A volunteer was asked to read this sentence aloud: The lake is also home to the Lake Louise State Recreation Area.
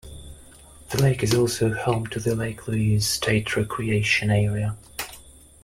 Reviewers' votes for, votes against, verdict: 2, 0, accepted